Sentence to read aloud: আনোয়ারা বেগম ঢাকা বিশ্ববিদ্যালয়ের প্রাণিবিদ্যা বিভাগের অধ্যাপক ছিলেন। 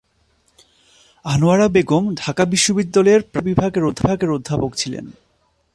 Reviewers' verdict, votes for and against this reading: rejected, 0, 2